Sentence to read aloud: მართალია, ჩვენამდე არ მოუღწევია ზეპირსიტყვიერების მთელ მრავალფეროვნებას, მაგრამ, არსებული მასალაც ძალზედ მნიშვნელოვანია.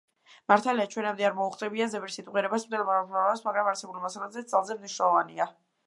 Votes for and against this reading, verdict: 0, 2, rejected